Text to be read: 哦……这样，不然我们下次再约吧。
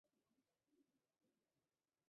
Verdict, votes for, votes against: rejected, 2, 6